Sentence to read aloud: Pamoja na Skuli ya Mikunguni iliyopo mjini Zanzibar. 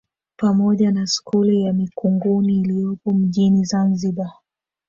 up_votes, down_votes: 0, 2